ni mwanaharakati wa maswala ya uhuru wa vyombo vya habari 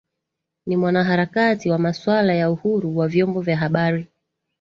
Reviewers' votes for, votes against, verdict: 2, 0, accepted